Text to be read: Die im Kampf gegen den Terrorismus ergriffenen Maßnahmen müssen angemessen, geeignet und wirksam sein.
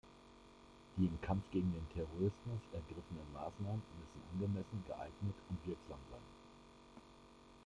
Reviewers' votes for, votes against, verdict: 1, 2, rejected